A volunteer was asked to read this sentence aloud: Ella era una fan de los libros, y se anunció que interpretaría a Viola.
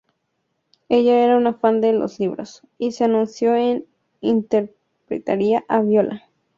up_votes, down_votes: 0, 2